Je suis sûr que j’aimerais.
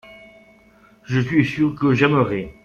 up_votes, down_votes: 2, 0